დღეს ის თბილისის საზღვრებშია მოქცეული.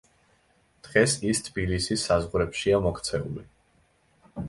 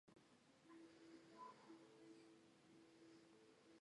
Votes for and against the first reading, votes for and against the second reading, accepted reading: 2, 0, 1, 2, first